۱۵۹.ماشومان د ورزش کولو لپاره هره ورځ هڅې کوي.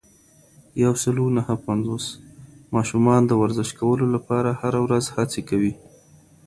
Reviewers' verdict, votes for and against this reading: rejected, 0, 2